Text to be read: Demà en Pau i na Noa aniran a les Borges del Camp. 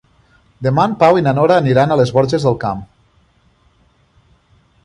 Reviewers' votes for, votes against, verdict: 1, 2, rejected